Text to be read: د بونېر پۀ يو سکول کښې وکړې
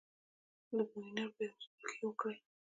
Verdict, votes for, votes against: rejected, 0, 2